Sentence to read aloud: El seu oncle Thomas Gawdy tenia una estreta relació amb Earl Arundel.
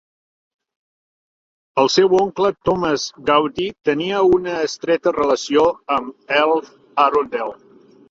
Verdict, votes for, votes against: rejected, 0, 2